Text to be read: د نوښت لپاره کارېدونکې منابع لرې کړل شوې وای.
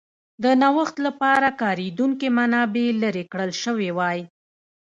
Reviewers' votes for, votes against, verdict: 1, 2, rejected